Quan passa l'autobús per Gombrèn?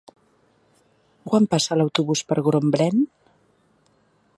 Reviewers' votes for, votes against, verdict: 1, 2, rejected